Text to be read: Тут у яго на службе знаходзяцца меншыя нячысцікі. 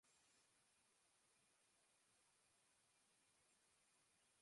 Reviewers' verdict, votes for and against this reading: rejected, 0, 2